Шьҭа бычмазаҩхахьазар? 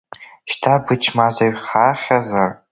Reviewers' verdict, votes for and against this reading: rejected, 0, 2